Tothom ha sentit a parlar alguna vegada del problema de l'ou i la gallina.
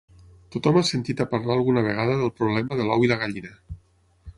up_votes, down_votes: 6, 0